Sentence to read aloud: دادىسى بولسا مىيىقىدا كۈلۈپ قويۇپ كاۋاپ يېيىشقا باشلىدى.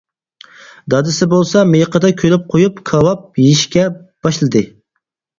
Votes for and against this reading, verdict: 0, 4, rejected